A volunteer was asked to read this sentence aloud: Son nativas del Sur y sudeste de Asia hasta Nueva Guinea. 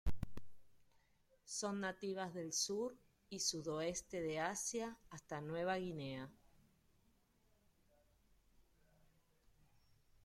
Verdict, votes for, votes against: rejected, 0, 2